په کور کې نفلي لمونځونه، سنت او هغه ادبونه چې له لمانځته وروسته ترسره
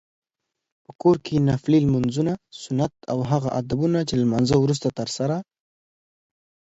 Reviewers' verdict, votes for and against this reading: accepted, 2, 0